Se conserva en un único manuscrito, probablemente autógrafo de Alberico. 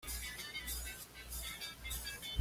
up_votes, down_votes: 1, 2